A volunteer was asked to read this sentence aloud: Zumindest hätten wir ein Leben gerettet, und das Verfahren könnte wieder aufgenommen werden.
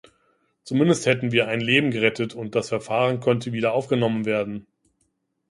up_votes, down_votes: 2, 0